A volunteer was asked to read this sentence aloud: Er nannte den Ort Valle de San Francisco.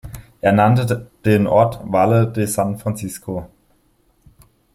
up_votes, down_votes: 1, 2